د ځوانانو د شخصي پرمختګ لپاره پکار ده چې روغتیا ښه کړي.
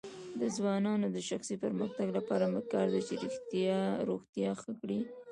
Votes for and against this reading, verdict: 0, 2, rejected